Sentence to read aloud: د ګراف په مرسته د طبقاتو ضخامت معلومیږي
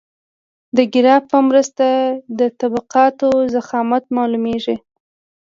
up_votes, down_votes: 2, 0